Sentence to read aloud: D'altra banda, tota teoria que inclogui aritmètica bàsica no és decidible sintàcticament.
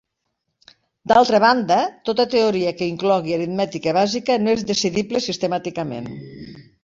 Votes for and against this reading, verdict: 1, 2, rejected